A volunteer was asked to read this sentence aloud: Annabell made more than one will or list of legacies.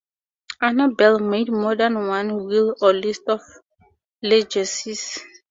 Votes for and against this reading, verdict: 2, 2, rejected